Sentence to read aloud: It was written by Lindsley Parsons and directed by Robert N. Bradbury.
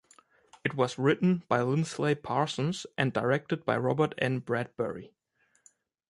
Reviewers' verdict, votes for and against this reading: accepted, 2, 0